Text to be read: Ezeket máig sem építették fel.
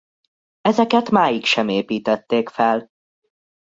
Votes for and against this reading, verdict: 2, 0, accepted